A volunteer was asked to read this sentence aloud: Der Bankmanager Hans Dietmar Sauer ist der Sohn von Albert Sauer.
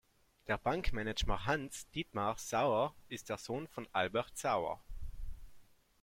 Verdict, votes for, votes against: rejected, 1, 2